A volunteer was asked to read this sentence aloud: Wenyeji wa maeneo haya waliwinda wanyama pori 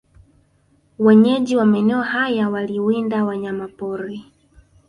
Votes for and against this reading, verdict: 1, 2, rejected